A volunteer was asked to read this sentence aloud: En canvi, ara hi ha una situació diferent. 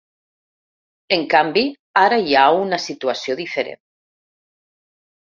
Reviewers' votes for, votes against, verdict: 3, 0, accepted